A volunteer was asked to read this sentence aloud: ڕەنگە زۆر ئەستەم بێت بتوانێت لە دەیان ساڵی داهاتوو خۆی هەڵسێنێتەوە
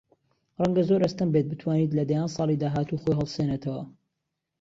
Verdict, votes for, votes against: rejected, 1, 2